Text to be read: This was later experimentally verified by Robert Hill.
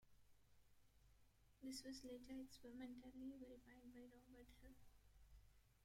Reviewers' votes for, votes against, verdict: 0, 2, rejected